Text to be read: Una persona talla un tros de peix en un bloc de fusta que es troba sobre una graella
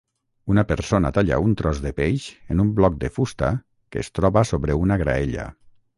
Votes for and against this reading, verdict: 6, 0, accepted